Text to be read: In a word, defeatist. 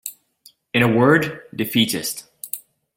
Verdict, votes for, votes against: accepted, 2, 0